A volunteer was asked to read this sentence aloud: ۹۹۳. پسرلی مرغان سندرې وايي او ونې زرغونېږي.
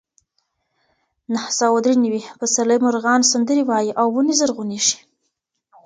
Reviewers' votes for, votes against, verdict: 0, 2, rejected